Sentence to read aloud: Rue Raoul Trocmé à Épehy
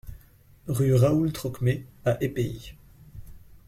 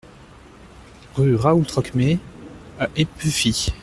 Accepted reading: first